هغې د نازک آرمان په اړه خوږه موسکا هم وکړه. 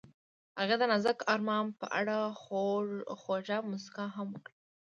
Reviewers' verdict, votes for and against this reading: rejected, 1, 2